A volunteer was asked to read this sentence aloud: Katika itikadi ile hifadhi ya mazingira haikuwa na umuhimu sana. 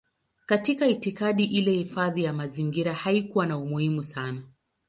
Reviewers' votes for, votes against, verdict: 11, 1, accepted